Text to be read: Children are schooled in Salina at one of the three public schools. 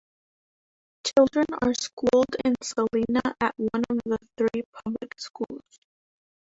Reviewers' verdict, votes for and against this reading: rejected, 1, 2